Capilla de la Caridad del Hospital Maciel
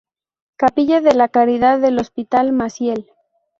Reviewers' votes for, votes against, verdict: 2, 0, accepted